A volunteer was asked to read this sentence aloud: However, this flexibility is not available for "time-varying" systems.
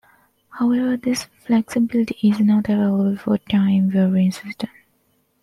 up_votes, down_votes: 1, 2